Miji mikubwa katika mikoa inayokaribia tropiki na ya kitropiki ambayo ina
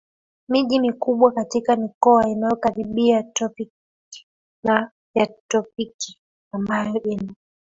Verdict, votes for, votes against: rejected, 0, 2